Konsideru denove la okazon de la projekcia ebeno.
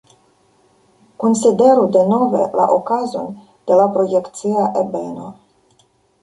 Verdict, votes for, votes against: rejected, 1, 2